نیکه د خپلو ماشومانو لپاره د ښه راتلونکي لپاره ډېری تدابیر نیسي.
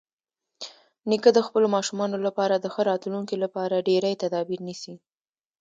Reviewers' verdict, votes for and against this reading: accepted, 3, 0